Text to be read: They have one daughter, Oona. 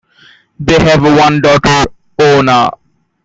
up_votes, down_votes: 1, 2